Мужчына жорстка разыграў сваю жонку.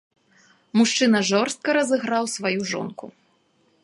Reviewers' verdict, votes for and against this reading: accepted, 2, 0